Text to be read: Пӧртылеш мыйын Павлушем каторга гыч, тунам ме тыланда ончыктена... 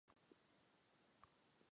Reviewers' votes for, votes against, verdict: 0, 2, rejected